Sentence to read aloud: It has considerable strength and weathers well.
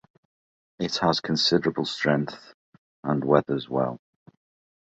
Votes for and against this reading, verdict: 2, 0, accepted